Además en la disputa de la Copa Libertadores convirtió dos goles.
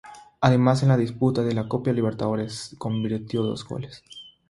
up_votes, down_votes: 0, 3